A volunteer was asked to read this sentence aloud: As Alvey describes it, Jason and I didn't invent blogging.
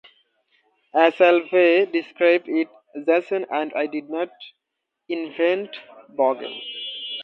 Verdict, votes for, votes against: rejected, 0, 2